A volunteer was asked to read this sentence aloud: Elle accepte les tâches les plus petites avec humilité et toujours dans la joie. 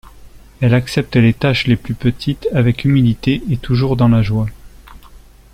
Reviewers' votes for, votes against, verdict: 2, 0, accepted